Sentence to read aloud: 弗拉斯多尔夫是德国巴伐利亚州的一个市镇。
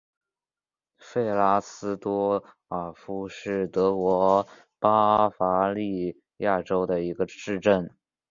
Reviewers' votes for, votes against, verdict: 3, 1, accepted